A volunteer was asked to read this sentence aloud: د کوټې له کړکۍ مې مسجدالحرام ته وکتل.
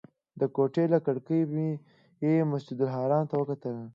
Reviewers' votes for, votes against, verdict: 2, 0, accepted